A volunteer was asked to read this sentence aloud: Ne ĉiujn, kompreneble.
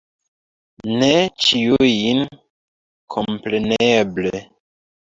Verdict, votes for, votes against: rejected, 1, 2